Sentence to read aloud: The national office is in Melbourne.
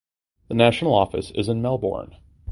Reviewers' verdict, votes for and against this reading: accepted, 2, 0